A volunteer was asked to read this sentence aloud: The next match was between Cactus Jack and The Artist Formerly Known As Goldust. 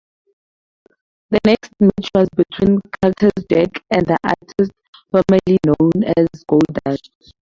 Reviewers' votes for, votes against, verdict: 4, 2, accepted